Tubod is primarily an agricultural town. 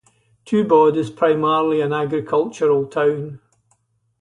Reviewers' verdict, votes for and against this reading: rejected, 0, 2